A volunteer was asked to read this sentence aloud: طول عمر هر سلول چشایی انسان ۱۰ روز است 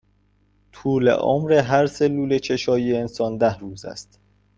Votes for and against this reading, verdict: 0, 2, rejected